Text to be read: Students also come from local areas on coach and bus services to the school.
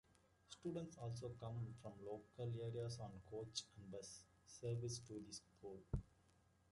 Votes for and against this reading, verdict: 0, 2, rejected